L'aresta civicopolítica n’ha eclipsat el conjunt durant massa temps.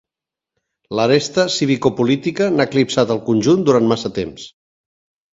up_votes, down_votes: 3, 0